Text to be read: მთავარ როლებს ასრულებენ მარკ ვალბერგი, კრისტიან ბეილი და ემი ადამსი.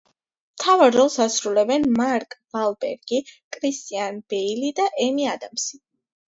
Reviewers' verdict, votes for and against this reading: accepted, 2, 0